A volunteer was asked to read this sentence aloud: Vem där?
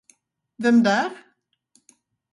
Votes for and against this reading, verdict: 4, 0, accepted